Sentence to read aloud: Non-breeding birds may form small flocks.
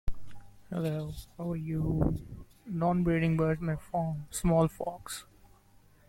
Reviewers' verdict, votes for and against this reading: rejected, 0, 2